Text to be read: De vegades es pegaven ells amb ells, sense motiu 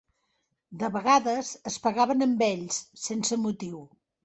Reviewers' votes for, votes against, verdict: 1, 2, rejected